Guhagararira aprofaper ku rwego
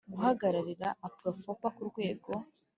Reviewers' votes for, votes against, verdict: 1, 2, rejected